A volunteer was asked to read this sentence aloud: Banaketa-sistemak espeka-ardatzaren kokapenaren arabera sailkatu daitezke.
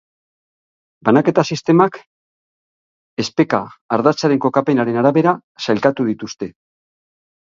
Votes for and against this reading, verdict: 3, 6, rejected